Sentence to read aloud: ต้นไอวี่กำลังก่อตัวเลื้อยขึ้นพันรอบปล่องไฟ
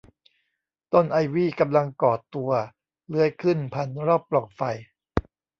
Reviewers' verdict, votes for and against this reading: rejected, 0, 2